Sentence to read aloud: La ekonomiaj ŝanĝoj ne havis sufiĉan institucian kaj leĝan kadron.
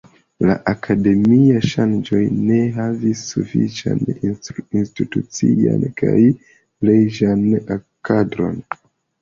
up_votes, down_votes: 1, 2